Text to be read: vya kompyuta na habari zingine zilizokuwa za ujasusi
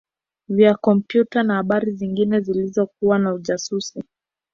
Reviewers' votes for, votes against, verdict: 2, 1, accepted